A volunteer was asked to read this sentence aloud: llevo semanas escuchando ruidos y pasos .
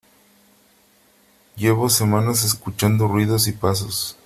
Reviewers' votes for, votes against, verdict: 3, 0, accepted